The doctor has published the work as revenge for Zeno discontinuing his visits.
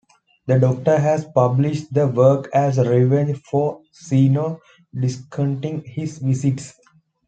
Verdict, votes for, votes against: rejected, 1, 2